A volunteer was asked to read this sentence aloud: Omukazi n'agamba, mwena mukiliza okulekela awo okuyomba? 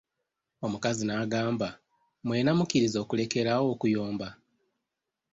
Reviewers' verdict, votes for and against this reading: rejected, 1, 2